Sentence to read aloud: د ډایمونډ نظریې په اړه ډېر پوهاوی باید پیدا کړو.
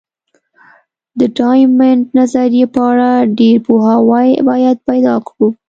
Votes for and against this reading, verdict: 2, 0, accepted